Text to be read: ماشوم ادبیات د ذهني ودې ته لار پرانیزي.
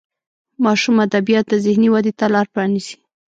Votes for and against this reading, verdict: 1, 2, rejected